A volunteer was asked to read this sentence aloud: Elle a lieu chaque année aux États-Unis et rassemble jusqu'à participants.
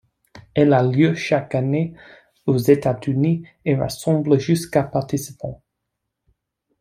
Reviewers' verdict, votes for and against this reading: rejected, 1, 2